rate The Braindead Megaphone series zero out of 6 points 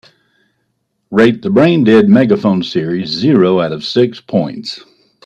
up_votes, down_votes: 0, 2